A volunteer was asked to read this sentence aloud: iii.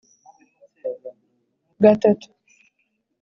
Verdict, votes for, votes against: rejected, 0, 2